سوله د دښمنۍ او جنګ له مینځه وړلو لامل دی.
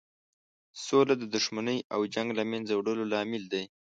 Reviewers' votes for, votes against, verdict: 2, 0, accepted